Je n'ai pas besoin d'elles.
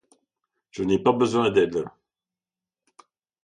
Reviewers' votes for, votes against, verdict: 0, 2, rejected